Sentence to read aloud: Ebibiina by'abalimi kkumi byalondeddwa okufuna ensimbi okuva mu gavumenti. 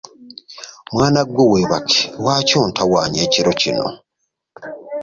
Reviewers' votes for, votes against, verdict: 0, 2, rejected